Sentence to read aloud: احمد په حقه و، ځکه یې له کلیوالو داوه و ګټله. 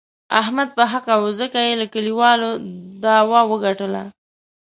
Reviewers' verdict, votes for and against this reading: accepted, 3, 0